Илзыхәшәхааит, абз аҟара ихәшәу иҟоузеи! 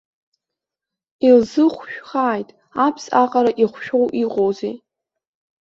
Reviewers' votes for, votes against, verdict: 2, 0, accepted